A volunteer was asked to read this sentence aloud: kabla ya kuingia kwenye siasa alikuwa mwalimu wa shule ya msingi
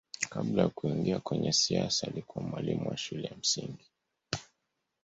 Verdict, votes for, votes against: accepted, 2, 0